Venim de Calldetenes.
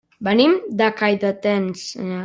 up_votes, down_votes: 1, 2